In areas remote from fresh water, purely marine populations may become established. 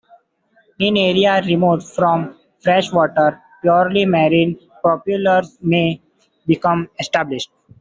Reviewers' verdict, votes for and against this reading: rejected, 1, 2